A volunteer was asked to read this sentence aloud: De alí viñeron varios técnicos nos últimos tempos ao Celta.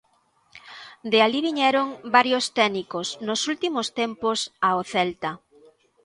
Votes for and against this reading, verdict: 2, 0, accepted